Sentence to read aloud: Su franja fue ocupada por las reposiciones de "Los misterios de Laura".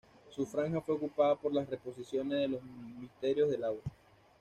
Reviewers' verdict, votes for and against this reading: accepted, 2, 0